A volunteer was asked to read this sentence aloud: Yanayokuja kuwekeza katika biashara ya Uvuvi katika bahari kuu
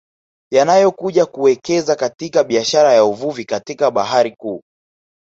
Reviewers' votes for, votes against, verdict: 3, 0, accepted